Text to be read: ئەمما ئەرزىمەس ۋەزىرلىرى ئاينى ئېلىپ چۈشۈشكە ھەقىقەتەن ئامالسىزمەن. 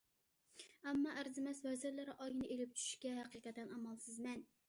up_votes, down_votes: 2, 0